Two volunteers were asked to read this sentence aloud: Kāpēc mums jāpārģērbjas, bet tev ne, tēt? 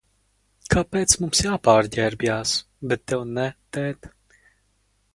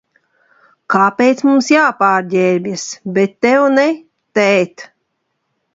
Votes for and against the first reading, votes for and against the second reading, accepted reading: 0, 4, 2, 0, second